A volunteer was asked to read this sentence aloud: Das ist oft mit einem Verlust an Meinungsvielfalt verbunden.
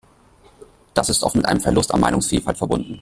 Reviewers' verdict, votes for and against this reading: rejected, 0, 2